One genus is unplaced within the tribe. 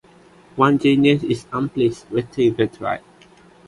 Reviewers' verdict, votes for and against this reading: rejected, 0, 2